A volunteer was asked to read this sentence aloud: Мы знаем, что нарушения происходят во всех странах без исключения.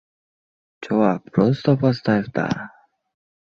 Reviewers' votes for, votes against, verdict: 0, 2, rejected